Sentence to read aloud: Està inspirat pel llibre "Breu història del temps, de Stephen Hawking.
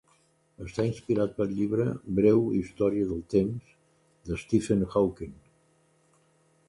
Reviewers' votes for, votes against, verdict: 2, 0, accepted